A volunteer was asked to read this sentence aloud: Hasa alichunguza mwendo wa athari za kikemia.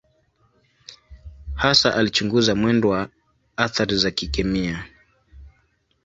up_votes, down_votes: 2, 1